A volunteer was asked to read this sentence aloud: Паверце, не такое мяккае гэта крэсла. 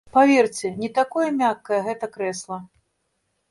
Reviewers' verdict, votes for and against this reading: accepted, 3, 0